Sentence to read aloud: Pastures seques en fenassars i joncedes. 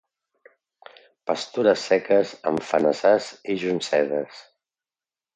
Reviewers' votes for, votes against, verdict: 2, 0, accepted